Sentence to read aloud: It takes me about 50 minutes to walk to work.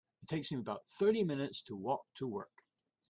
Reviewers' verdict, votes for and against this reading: rejected, 0, 2